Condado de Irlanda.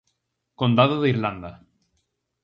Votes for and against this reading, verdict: 4, 0, accepted